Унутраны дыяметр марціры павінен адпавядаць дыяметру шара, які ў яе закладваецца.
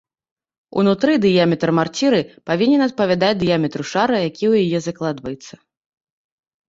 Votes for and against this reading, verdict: 0, 2, rejected